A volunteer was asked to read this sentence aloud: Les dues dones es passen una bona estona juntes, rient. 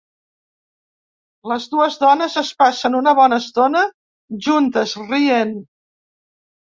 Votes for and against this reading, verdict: 2, 0, accepted